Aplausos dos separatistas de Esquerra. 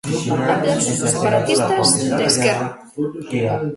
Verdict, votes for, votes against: rejected, 0, 2